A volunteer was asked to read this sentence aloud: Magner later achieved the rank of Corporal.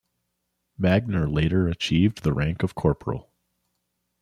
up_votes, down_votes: 2, 0